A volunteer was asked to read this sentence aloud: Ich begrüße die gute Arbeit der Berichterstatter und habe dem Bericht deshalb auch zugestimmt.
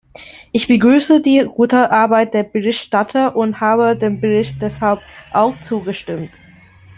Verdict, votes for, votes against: rejected, 0, 2